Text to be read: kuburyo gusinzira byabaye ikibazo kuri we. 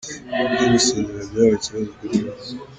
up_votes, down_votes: 1, 2